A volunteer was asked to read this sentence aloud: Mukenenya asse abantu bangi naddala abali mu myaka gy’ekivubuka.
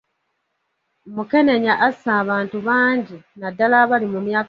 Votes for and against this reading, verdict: 0, 2, rejected